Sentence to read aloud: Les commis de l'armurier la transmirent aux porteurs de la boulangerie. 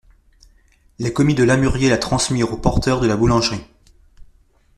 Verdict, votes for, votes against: rejected, 0, 2